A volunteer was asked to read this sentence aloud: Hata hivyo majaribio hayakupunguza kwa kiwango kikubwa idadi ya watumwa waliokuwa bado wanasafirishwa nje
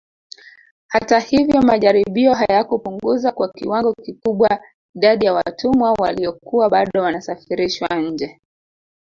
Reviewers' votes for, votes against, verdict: 1, 2, rejected